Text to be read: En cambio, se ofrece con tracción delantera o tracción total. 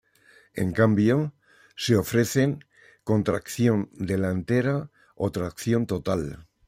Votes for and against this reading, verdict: 0, 2, rejected